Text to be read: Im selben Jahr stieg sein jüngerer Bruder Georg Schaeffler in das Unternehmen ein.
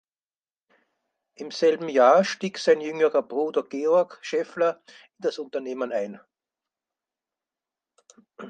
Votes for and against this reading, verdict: 4, 2, accepted